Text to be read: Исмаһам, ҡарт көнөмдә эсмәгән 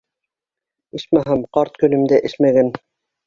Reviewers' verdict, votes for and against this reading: accepted, 2, 0